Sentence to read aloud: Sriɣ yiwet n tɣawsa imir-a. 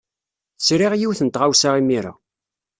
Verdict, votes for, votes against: accepted, 2, 0